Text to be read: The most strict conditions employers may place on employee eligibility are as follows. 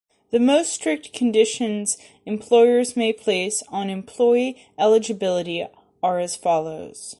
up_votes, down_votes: 2, 0